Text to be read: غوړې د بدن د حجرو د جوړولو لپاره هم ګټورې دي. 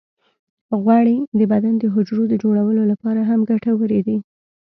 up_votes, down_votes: 2, 0